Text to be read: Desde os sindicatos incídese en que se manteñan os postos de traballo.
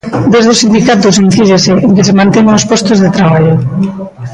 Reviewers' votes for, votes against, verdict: 1, 2, rejected